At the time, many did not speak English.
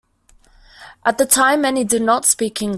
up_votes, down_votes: 0, 2